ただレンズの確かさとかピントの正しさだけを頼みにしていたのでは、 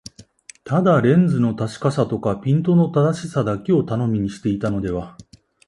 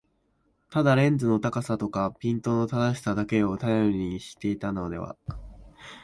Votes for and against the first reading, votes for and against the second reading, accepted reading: 2, 0, 0, 2, first